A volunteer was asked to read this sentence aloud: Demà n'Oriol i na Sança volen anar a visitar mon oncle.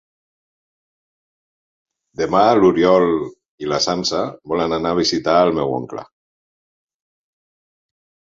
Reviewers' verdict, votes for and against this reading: rejected, 0, 2